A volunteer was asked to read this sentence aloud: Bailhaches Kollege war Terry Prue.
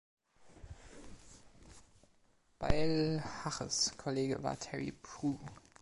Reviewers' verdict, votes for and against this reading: accepted, 2, 0